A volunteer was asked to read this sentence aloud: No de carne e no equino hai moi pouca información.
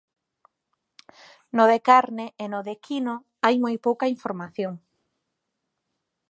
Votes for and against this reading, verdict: 1, 2, rejected